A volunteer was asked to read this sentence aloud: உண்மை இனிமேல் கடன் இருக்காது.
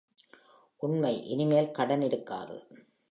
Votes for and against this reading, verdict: 1, 2, rejected